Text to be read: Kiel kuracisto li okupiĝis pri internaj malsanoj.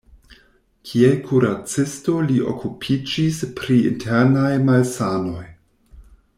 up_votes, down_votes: 2, 0